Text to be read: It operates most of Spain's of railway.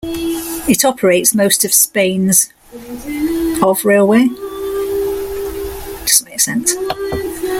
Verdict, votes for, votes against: rejected, 0, 2